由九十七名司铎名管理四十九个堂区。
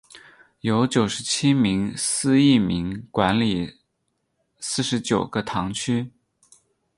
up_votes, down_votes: 8, 0